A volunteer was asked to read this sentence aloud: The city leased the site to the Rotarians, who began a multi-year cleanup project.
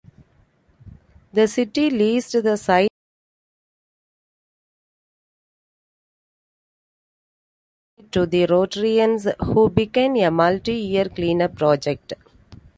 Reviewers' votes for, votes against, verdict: 0, 2, rejected